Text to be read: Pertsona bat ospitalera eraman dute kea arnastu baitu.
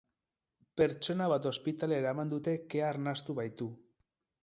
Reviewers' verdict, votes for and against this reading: accepted, 2, 0